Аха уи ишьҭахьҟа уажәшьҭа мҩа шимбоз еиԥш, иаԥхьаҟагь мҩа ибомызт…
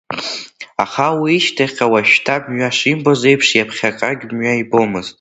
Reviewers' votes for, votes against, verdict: 2, 1, accepted